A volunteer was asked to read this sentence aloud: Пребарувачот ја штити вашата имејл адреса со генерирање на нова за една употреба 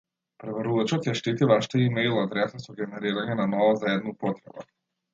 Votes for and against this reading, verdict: 0, 2, rejected